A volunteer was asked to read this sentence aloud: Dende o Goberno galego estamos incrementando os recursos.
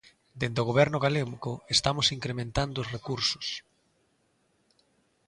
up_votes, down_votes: 1, 2